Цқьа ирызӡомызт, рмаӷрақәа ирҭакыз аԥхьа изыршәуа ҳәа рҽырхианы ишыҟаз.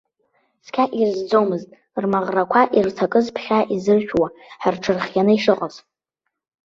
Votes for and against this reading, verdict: 0, 2, rejected